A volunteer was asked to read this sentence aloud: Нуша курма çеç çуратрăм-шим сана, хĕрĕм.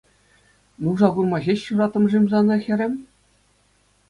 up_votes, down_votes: 2, 0